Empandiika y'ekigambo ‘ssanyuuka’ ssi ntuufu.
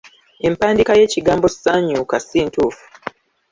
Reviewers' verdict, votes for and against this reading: rejected, 1, 2